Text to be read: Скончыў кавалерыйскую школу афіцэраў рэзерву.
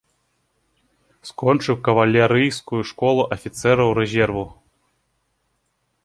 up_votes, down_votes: 2, 0